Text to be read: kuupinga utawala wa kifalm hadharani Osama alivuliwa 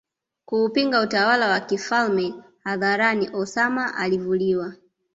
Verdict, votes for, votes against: rejected, 1, 2